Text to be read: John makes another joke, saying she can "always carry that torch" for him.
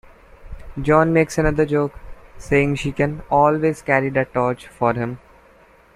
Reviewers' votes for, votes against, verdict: 2, 0, accepted